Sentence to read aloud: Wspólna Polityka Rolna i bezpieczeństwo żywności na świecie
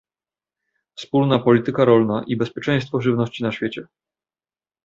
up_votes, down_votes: 2, 0